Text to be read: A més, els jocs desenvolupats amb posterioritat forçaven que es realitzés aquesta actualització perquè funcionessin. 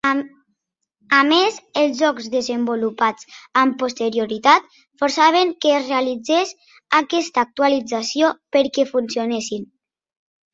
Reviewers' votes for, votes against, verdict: 0, 2, rejected